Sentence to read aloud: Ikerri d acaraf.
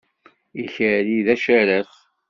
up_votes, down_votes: 2, 0